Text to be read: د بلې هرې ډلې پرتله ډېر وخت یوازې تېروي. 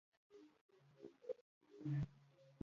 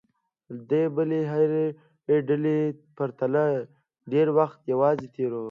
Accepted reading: second